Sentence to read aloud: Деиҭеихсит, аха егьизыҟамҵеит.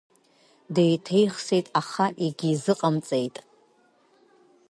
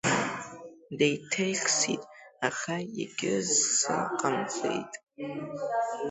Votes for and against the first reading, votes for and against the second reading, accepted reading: 2, 0, 1, 2, first